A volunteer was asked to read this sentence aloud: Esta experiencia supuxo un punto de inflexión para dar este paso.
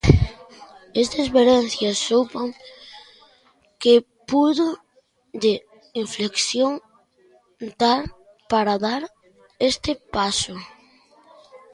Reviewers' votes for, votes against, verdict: 0, 2, rejected